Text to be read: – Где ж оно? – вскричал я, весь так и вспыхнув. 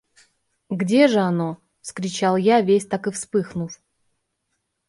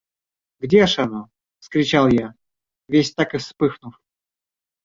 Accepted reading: second